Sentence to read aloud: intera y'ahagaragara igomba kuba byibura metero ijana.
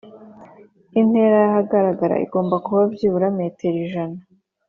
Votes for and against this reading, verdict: 2, 0, accepted